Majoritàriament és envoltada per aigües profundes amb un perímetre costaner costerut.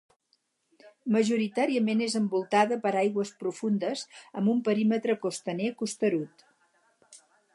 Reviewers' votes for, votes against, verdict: 6, 0, accepted